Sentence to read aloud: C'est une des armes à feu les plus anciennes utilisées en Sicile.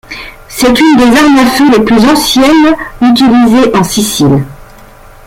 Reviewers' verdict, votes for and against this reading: accepted, 2, 1